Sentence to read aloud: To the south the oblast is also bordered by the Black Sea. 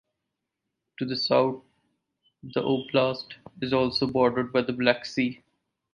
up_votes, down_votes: 4, 0